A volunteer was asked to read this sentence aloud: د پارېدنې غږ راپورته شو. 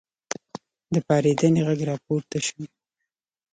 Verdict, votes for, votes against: accepted, 2, 0